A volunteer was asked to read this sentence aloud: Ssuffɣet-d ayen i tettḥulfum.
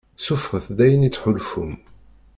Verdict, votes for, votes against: rejected, 0, 2